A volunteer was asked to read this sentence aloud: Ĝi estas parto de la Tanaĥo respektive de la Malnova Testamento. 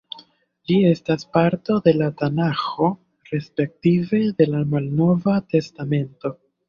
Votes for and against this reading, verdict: 3, 0, accepted